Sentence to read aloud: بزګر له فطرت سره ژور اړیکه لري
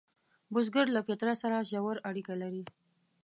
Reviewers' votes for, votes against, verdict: 2, 0, accepted